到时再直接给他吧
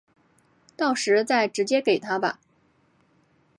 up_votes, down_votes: 5, 0